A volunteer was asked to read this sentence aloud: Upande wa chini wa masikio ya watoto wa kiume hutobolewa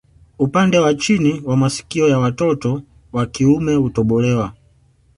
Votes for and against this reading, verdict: 2, 1, accepted